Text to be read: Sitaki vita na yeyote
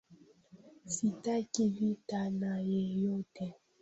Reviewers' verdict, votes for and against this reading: accepted, 2, 1